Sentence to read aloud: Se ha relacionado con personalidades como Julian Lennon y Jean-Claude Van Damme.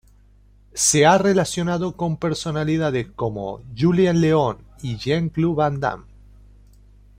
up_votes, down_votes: 0, 2